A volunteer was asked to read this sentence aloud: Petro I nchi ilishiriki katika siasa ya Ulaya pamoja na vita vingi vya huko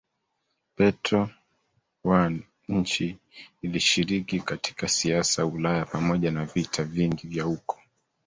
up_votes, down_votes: 0, 2